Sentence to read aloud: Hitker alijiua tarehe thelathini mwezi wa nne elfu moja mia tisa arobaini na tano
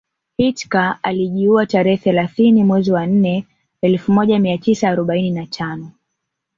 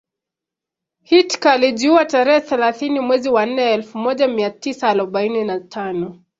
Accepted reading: second